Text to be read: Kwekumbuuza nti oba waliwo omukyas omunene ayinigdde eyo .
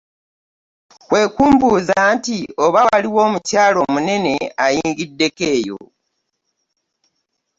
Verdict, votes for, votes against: accepted, 2, 1